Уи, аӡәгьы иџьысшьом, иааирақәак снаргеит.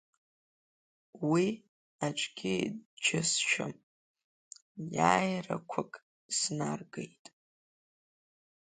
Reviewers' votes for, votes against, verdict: 3, 1, accepted